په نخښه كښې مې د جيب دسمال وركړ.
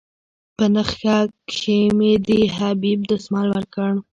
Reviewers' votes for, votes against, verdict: 1, 2, rejected